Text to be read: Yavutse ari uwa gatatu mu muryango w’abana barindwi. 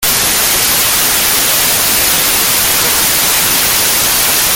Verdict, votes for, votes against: rejected, 0, 2